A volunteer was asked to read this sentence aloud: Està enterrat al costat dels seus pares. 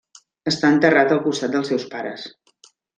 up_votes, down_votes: 3, 0